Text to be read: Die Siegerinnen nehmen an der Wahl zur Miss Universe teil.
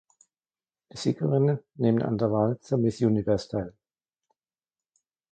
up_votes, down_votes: 1, 2